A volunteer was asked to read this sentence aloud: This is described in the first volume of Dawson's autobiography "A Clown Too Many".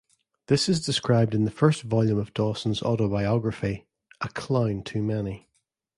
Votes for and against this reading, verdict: 2, 0, accepted